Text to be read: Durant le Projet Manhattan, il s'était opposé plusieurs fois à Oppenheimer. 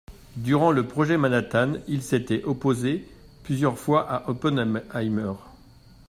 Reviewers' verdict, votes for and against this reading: rejected, 0, 2